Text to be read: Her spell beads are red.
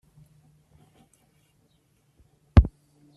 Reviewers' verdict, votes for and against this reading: rejected, 0, 2